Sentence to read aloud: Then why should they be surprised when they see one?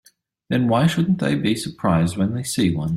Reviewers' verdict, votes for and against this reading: rejected, 0, 3